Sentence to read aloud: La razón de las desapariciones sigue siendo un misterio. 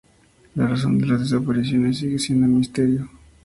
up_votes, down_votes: 4, 0